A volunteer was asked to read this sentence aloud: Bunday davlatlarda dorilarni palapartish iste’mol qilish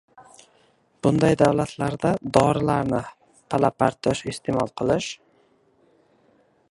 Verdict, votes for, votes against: rejected, 1, 2